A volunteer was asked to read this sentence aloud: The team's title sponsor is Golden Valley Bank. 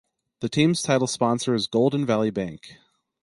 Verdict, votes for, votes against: accepted, 4, 0